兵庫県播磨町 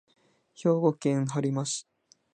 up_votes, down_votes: 2, 0